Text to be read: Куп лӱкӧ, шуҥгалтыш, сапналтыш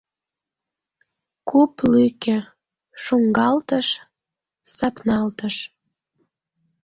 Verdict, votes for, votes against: rejected, 1, 2